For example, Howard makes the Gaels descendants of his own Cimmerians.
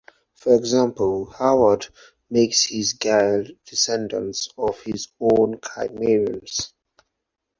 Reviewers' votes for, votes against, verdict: 0, 4, rejected